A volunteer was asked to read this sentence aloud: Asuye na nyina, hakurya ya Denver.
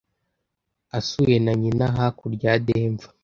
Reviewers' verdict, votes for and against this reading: accepted, 2, 0